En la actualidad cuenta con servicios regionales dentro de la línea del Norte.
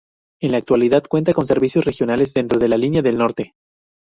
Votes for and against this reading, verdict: 2, 0, accepted